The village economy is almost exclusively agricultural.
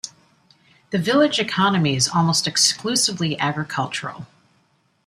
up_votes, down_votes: 2, 0